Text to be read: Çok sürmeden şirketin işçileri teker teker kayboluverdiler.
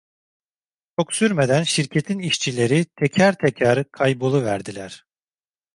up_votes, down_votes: 0, 2